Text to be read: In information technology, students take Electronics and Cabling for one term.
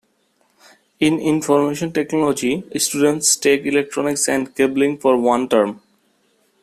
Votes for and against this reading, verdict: 2, 0, accepted